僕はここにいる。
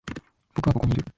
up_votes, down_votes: 0, 2